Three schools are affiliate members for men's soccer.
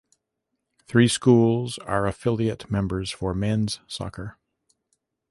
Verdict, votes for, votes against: accepted, 2, 0